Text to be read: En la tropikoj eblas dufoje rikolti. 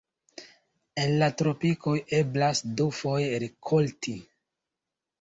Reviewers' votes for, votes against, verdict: 2, 0, accepted